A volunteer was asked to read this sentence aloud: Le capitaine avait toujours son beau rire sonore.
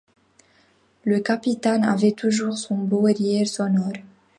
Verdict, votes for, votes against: accepted, 2, 0